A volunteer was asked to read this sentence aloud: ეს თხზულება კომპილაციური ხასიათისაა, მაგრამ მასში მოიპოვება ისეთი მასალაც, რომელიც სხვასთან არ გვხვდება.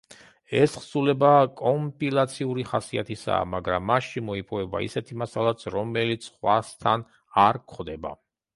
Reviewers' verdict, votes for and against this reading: rejected, 1, 2